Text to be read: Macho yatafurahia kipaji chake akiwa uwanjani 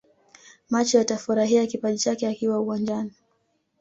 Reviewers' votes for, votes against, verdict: 2, 0, accepted